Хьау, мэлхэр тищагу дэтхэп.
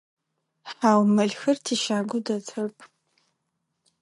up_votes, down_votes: 2, 4